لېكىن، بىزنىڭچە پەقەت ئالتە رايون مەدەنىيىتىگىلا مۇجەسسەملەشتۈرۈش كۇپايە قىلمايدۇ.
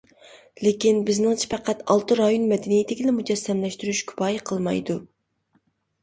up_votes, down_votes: 2, 0